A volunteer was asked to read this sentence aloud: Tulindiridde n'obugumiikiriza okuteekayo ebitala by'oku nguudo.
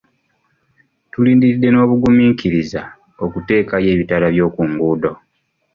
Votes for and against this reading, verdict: 2, 0, accepted